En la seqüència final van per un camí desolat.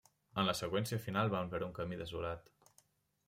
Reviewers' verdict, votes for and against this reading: accepted, 2, 0